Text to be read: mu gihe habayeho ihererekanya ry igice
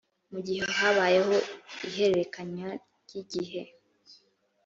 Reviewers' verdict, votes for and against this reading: rejected, 1, 2